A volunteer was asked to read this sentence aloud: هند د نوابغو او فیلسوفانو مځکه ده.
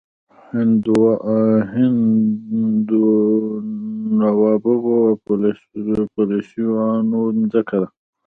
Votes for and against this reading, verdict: 0, 2, rejected